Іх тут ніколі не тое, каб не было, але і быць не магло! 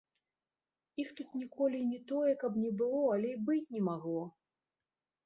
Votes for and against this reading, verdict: 2, 1, accepted